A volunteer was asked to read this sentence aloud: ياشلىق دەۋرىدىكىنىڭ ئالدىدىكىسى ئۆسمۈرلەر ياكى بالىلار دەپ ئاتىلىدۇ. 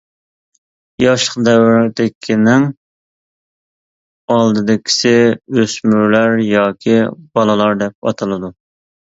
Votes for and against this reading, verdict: 2, 1, accepted